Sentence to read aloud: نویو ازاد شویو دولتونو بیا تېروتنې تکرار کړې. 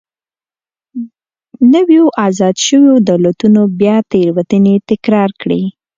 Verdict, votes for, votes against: accepted, 2, 0